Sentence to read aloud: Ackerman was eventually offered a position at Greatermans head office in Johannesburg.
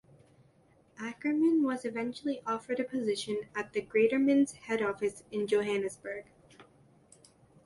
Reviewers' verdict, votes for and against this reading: accepted, 3, 2